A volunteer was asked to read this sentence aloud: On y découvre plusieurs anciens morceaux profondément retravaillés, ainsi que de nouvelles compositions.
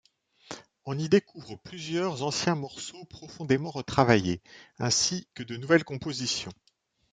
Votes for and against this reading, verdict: 2, 0, accepted